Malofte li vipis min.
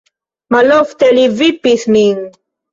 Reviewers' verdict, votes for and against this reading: accepted, 2, 0